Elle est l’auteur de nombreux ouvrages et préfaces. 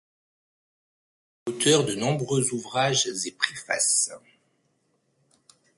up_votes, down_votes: 0, 2